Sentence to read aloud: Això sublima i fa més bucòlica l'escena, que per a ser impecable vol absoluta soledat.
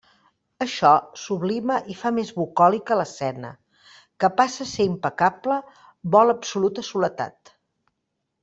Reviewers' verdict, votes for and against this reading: rejected, 0, 2